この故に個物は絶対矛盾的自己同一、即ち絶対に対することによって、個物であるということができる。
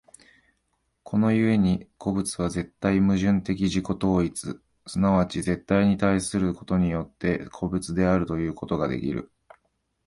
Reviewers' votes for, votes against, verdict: 0, 2, rejected